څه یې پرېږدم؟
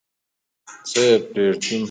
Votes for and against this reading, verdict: 1, 2, rejected